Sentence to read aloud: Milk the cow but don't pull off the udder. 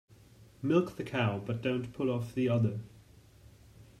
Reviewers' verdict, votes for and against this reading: accepted, 2, 0